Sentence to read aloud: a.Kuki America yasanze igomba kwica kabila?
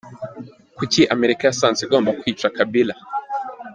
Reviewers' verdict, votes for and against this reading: rejected, 1, 2